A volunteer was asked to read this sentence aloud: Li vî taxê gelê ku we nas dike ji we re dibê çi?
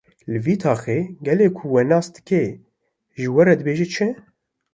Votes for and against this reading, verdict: 2, 0, accepted